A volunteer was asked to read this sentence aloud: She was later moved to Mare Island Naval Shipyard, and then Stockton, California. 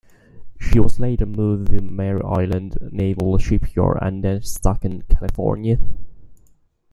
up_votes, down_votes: 1, 2